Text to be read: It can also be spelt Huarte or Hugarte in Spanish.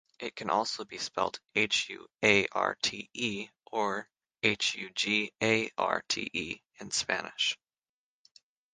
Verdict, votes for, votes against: rejected, 3, 3